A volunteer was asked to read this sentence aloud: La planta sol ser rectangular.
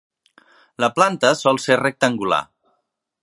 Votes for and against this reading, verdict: 3, 0, accepted